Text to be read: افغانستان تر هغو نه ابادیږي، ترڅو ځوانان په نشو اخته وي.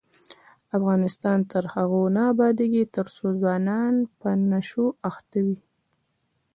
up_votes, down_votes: 2, 0